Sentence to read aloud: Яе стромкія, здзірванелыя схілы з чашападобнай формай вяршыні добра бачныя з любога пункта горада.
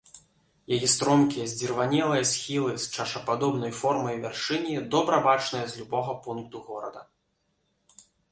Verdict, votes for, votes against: rejected, 0, 2